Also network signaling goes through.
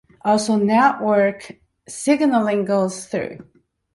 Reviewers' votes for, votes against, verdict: 2, 0, accepted